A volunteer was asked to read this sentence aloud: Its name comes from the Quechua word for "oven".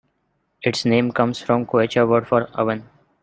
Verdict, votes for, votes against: rejected, 0, 2